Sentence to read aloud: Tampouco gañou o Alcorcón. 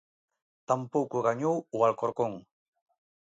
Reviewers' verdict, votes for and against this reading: accepted, 2, 0